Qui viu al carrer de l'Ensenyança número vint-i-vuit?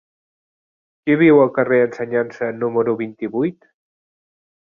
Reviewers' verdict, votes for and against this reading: rejected, 0, 2